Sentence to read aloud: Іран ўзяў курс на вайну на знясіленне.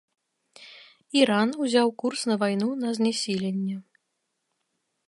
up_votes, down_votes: 2, 0